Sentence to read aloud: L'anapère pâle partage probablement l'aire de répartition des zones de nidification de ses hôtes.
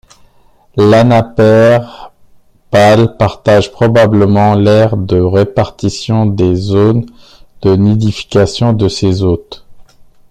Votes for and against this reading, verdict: 2, 0, accepted